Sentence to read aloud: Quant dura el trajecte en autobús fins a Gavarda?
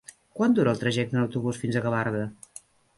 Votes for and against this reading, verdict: 3, 0, accepted